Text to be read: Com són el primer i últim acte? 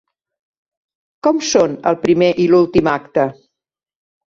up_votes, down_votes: 1, 2